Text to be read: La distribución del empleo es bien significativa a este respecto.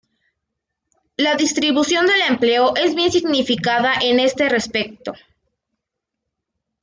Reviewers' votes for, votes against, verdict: 0, 2, rejected